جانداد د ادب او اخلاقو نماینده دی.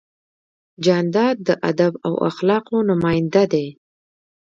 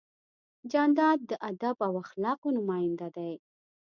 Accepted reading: second